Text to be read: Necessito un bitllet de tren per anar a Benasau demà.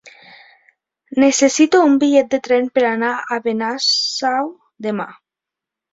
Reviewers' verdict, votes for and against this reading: accepted, 5, 0